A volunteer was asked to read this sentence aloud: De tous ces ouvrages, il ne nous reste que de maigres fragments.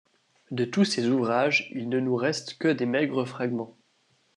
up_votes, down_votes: 1, 2